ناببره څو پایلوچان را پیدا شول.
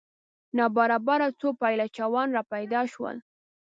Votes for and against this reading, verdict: 1, 2, rejected